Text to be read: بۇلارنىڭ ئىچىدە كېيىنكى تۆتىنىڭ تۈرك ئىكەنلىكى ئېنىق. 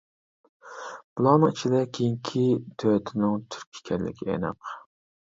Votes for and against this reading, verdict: 1, 2, rejected